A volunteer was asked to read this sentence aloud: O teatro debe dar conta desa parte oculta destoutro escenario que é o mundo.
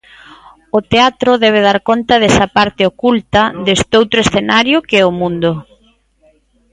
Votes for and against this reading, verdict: 2, 0, accepted